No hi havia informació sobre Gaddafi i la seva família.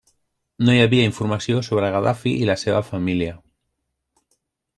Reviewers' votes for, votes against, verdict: 2, 0, accepted